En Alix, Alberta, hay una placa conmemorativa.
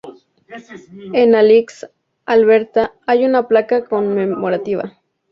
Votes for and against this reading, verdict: 2, 0, accepted